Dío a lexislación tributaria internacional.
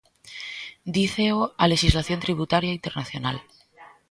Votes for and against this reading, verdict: 0, 2, rejected